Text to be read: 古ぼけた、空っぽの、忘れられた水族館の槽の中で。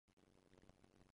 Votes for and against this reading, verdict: 0, 2, rejected